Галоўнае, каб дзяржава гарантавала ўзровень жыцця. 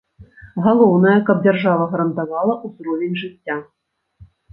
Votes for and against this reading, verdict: 2, 0, accepted